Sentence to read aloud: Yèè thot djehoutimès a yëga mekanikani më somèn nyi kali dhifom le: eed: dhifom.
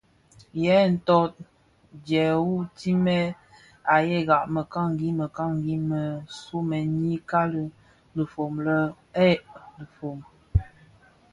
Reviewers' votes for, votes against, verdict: 2, 0, accepted